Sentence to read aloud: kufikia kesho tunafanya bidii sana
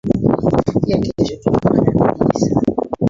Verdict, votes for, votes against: rejected, 0, 2